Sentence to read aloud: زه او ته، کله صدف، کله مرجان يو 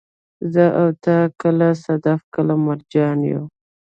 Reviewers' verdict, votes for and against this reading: rejected, 1, 2